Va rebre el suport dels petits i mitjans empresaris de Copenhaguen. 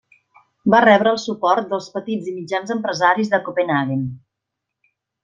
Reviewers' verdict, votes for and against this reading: accepted, 2, 0